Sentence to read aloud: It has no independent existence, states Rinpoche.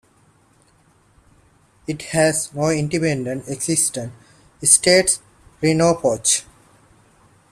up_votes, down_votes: 0, 2